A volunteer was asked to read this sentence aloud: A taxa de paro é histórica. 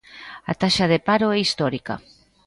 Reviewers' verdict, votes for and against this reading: accepted, 2, 0